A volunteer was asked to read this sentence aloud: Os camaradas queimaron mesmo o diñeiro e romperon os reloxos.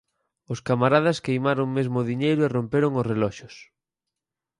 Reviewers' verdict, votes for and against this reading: accepted, 4, 0